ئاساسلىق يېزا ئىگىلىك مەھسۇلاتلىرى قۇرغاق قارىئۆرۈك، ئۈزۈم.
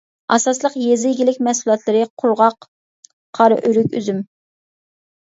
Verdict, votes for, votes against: accepted, 2, 0